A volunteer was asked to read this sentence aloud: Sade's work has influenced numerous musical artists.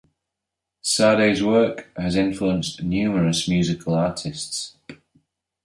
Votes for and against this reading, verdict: 2, 0, accepted